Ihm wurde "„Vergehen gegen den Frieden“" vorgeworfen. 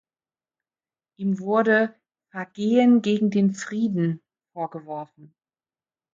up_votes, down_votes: 2, 1